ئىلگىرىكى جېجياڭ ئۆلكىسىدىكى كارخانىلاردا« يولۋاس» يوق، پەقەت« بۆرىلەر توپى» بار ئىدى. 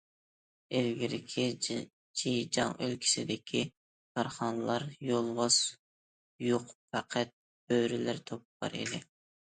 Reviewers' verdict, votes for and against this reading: rejected, 0, 2